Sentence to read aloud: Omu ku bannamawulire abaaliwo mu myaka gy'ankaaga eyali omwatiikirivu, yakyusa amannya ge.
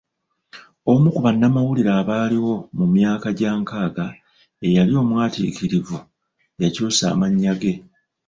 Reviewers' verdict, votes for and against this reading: rejected, 0, 2